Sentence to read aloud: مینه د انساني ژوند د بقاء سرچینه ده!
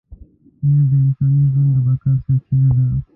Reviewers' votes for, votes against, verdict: 0, 2, rejected